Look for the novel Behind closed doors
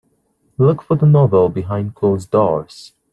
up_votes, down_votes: 2, 0